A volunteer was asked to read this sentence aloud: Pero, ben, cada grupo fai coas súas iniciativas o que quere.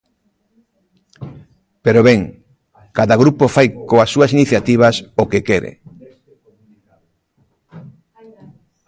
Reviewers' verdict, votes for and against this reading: rejected, 1, 2